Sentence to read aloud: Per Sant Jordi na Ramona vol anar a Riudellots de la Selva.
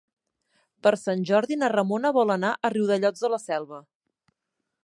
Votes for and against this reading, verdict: 3, 0, accepted